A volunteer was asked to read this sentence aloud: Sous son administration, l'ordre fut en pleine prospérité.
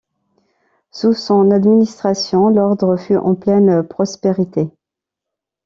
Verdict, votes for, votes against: accepted, 2, 0